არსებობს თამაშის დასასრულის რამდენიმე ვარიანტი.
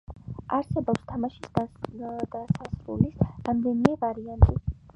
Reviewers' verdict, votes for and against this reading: rejected, 1, 2